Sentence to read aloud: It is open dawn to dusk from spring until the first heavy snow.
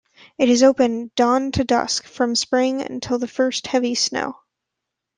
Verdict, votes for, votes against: accepted, 2, 0